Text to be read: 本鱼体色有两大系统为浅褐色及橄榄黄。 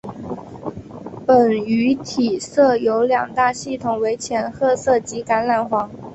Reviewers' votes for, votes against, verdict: 3, 0, accepted